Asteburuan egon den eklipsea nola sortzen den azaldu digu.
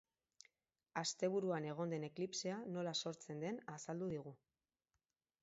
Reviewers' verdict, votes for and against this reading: accepted, 8, 2